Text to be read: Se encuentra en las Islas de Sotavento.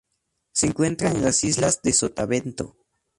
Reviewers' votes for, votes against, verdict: 2, 0, accepted